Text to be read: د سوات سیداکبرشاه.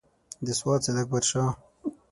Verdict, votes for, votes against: accepted, 6, 0